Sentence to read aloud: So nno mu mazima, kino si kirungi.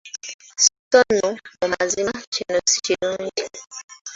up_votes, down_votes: 1, 2